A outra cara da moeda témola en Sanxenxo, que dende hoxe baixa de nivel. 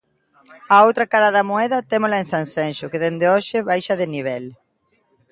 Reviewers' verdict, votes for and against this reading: accepted, 2, 0